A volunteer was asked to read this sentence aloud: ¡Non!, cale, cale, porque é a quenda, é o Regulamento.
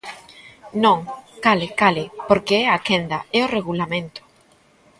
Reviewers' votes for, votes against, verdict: 0, 2, rejected